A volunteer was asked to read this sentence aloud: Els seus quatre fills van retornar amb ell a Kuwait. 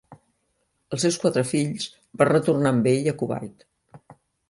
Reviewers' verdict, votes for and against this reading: rejected, 1, 2